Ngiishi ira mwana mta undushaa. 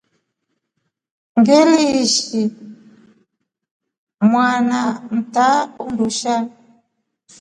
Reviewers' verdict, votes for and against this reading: rejected, 1, 2